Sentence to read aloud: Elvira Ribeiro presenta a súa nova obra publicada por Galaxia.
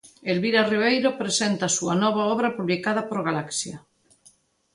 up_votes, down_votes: 2, 0